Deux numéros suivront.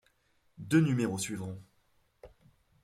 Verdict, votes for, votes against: accepted, 2, 0